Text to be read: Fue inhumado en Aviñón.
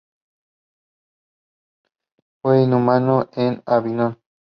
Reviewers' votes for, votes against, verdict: 0, 2, rejected